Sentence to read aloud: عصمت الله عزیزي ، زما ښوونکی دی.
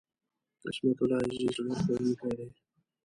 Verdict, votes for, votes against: rejected, 1, 2